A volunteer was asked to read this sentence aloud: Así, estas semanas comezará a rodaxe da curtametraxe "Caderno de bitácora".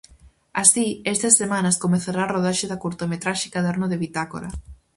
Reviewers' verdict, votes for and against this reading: accepted, 4, 0